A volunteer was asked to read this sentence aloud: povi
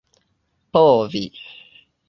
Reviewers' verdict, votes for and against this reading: accepted, 2, 0